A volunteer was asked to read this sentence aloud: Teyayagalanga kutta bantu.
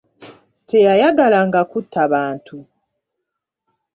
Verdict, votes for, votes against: accepted, 2, 0